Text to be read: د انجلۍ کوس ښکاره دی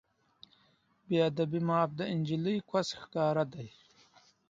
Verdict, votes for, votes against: accepted, 2, 0